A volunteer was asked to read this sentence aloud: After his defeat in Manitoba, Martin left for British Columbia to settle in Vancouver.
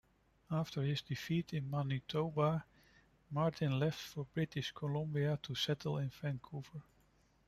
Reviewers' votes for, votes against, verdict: 1, 2, rejected